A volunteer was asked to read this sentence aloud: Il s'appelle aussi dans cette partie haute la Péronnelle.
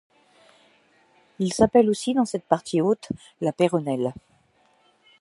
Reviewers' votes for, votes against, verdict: 2, 0, accepted